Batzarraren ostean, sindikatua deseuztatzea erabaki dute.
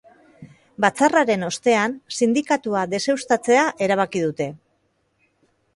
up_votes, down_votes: 2, 0